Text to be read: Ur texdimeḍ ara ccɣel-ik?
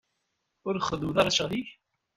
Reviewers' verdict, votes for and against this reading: rejected, 1, 2